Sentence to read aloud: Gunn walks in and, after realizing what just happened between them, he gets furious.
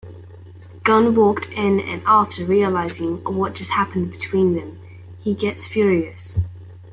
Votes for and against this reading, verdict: 0, 2, rejected